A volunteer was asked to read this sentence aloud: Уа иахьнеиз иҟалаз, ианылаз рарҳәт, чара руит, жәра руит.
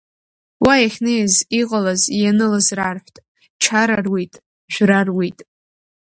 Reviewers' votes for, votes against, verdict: 2, 0, accepted